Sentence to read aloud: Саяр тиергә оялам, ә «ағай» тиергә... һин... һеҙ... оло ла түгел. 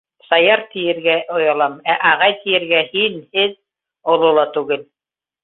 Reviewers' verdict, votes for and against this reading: accepted, 2, 0